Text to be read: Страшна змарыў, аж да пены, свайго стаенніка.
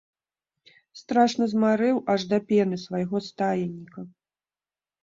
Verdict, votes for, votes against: rejected, 1, 2